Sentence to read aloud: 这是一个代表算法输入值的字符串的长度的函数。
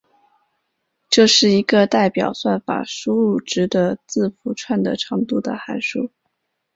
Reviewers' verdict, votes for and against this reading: accepted, 4, 1